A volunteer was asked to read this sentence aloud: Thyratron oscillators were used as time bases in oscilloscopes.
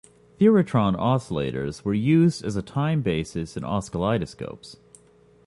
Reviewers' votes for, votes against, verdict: 0, 2, rejected